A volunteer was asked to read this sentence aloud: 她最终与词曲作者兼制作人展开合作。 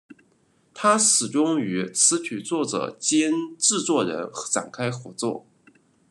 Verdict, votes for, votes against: rejected, 1, 2